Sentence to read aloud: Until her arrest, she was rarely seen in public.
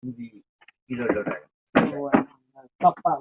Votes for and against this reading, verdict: 0, 2, rejected